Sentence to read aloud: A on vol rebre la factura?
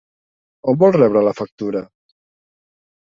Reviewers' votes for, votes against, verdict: 2, 1, accepted